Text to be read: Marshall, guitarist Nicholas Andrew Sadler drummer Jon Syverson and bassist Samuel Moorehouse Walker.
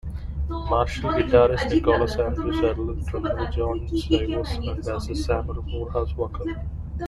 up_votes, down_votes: 2, 1